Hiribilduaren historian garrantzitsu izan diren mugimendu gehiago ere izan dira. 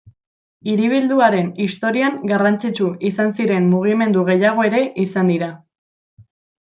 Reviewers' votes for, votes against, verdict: 1, 2, rejected